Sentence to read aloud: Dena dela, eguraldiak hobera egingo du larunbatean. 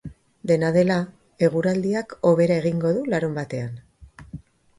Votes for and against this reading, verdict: 7, 0, accepted